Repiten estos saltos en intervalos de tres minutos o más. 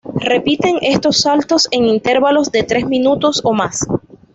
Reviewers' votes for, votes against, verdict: 0, 2, rejected